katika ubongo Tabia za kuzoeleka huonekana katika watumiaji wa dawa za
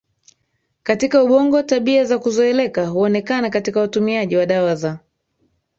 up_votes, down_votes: 2, 1